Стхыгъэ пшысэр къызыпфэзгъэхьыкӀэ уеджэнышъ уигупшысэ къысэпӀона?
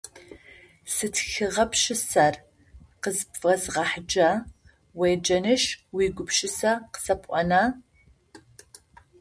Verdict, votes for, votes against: rejected, 0, 2